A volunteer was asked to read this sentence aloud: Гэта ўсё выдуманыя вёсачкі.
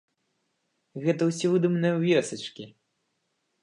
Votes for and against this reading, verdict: 0, 2, rejected